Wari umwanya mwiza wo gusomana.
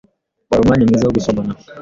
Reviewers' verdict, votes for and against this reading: accepted, 2, 1